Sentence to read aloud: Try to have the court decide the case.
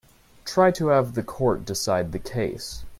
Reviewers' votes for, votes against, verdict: 2, 0, accepted